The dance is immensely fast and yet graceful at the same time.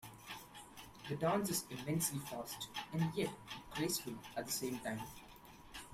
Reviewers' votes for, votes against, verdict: 0, 2, rejected